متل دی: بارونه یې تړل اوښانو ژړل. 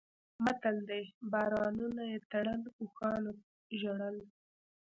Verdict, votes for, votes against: rejected, 0, 2